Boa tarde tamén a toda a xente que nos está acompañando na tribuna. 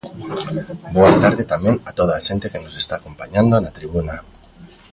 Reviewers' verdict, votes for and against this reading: rejected, 1, 2